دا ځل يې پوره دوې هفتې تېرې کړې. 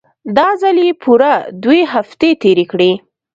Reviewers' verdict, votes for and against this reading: accepted, 2, 0